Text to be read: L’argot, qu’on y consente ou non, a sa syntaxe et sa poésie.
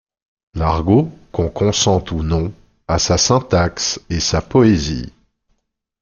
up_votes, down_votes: 1, 2